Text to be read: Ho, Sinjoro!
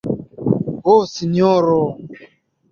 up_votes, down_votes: 2, 0